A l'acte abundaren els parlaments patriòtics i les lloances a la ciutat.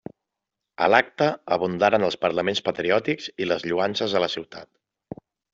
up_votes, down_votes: 3, 0